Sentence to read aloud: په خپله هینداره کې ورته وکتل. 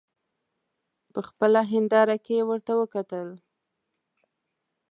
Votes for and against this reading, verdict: 2, 0, accepted